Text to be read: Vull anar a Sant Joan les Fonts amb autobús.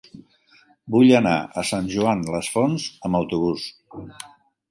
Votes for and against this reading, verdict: 3, 1, accepted